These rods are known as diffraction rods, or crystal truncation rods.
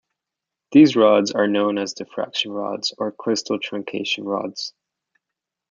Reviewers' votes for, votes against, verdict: 2, 0, accepted